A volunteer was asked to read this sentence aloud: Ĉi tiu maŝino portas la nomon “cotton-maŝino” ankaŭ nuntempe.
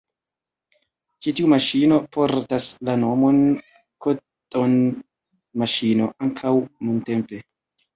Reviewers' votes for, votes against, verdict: 1, 2, rejected